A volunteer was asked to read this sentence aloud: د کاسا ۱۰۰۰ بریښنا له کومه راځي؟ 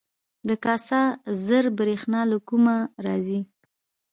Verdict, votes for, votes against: rejected, 0, 2